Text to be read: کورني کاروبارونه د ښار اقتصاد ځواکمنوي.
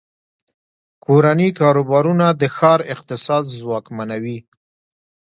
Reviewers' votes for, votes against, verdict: 2, 0, accepted